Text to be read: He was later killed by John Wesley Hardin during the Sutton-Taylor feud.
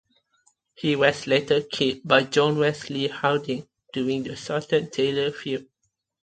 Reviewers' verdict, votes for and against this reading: accepted, 2, 0